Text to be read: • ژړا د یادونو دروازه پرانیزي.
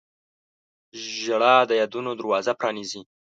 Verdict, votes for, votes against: accepted, 2, 0